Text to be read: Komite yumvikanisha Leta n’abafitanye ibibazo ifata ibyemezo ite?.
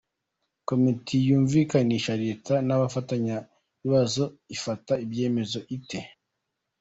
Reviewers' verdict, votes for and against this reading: rejected, 0, 2